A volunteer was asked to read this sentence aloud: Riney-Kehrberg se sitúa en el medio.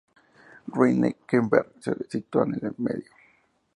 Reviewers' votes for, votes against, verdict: 2, 0, accepted